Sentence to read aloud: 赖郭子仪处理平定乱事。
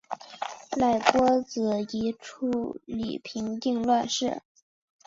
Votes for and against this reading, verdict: 2, 1, accepted